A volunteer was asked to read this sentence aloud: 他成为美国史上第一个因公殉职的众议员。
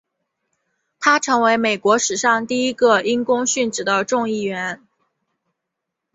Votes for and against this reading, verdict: 4, 0, accepted